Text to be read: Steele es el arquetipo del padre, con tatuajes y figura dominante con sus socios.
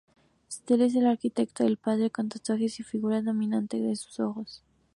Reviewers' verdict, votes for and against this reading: accepted, 2, 0